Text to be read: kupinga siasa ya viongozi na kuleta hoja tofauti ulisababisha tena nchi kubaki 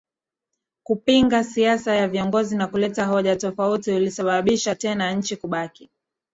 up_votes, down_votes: 2, 1